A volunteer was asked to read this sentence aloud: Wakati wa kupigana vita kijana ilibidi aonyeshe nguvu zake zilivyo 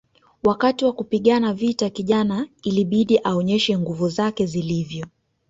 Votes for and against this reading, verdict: 1, 2, rejected